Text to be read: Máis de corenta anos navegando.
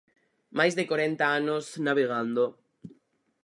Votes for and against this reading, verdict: 4, 0, accepted